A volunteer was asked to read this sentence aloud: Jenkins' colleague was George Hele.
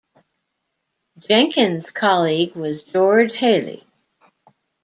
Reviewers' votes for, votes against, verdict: 2, 0, accepted